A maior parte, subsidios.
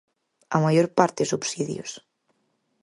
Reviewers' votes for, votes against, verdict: 4, 0, accepted